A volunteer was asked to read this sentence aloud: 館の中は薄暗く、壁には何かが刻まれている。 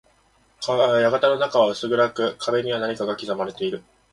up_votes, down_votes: 1, 2